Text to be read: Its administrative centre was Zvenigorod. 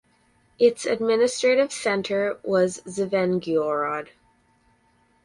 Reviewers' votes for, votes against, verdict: 4, 0, accepted